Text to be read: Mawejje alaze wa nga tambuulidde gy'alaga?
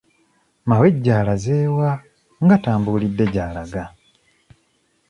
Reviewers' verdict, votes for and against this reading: accepted, 2, 1